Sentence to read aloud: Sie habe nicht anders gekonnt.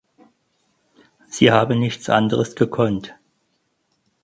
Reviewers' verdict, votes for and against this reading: rejected, 0, 4